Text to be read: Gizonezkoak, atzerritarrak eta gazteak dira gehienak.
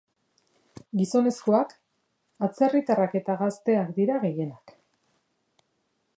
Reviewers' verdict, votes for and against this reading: accepted, 2, 0